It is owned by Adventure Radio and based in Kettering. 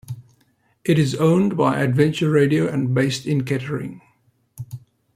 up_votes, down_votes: 2, 1